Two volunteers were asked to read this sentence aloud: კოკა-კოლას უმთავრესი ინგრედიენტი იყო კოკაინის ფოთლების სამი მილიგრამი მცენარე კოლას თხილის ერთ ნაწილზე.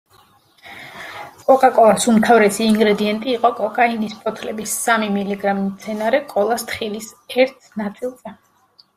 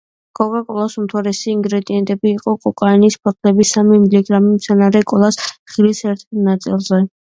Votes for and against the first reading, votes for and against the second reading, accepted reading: 2, 0, 0, 2, first